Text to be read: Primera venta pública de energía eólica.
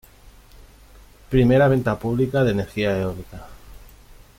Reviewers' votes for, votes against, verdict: 2, 0, accepted